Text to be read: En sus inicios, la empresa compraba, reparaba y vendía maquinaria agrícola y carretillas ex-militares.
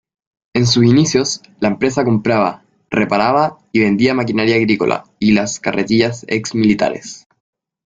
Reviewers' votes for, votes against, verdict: 2, 1, accepted